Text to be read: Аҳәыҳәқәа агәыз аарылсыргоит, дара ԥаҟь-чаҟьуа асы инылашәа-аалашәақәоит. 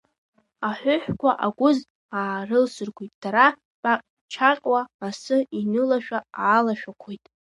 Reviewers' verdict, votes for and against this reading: rejected, 1, 2